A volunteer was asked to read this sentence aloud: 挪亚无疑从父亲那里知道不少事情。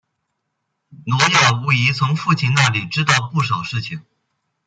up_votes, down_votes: 0, 2